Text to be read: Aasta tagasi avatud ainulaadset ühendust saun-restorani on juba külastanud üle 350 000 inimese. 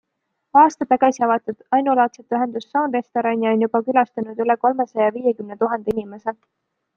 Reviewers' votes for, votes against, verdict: 0, 2, rejected